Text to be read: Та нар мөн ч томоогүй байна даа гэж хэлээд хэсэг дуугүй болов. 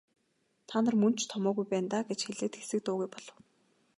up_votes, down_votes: 3, 0